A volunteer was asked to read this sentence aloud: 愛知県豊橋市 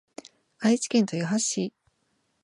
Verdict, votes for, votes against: accepted, 2, 0